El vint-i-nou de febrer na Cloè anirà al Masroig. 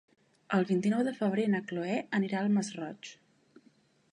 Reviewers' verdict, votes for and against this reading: accepted, 3, 0